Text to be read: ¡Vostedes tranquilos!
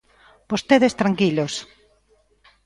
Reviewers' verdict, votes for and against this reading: accepted, 2, 0